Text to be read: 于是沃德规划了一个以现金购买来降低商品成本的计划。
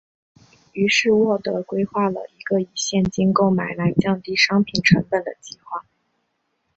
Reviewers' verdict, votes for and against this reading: accepted, 3, 0